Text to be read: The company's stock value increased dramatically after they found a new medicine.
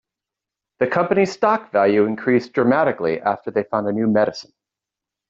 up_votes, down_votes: 2, 0